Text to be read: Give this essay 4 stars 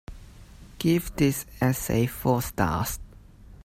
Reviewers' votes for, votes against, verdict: 0, 2, rejected